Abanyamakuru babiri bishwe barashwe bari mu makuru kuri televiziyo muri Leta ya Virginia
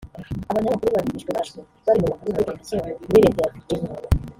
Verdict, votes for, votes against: rejected, 0, 2